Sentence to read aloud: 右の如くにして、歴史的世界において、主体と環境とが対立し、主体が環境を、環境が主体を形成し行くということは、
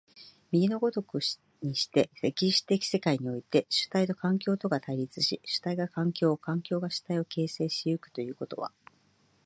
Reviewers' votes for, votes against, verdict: 2, 1, accepted